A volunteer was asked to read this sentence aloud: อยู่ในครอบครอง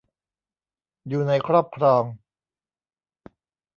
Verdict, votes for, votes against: accepted, 2, 0